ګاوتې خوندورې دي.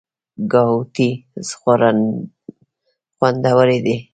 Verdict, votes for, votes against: rejected, 1, 2